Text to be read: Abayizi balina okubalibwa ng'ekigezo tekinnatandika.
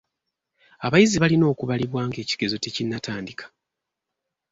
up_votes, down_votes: 2, 0